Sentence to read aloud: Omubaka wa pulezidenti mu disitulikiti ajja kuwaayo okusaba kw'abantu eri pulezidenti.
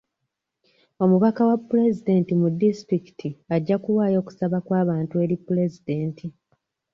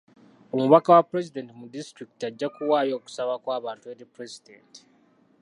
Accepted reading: first